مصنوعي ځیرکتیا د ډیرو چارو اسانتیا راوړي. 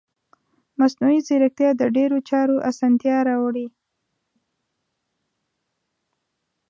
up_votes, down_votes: 2, 0